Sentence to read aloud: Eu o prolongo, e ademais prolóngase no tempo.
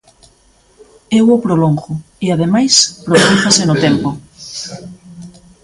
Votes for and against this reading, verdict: 0, 2, rejected